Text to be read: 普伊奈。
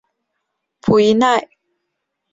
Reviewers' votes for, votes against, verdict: 2, 0, accepted